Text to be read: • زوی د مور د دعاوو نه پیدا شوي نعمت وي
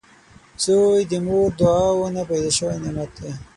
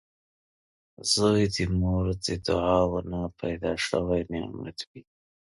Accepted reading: second